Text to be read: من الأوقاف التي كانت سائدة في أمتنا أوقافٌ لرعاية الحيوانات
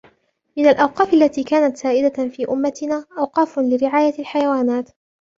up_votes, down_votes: 3, 0